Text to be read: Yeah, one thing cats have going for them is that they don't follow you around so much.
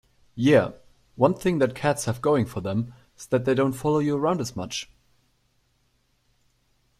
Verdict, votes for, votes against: rejected, 0, 2